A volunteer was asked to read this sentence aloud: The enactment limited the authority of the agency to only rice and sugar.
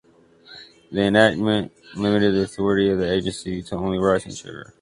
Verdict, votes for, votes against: rejected, 0, 2